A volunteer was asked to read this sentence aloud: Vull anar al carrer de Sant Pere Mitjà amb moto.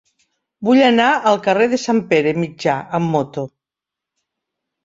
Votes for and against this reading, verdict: 3, 0, accepted